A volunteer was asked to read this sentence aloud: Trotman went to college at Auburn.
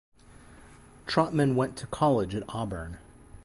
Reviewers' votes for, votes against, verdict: 2, 2, rejected